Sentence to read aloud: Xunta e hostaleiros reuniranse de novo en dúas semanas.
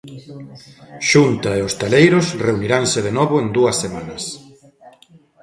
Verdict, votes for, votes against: rejected, 1, 2